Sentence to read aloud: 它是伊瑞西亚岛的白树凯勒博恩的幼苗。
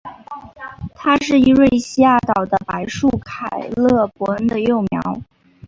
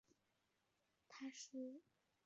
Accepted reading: first